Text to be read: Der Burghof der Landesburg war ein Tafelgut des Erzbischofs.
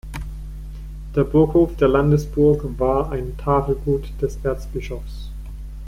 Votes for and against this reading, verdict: 0, 2, rejected